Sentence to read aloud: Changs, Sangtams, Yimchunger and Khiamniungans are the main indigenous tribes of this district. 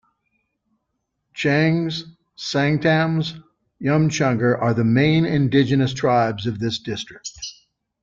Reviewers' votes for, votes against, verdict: 0, 2, rejected